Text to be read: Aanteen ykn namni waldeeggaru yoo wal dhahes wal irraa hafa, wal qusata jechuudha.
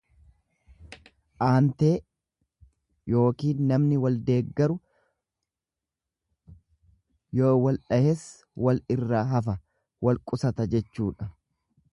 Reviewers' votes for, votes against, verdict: 1, 2, rejected